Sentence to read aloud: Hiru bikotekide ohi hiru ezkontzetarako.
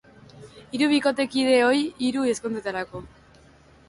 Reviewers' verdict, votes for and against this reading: accepted, 2, 0